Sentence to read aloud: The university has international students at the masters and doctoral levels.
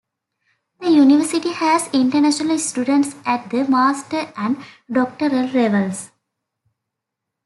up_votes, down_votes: 2, 0